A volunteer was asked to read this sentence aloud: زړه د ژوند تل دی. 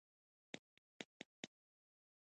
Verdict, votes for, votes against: rejected, 0, 2